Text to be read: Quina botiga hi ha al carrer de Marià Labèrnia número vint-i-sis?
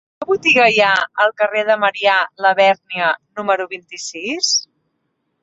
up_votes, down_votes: 4, 2